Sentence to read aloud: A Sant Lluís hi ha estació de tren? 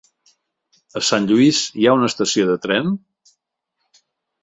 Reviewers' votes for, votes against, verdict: 1, 2, rejected